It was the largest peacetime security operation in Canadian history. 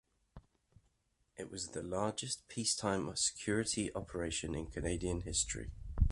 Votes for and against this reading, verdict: 2, 0, accepted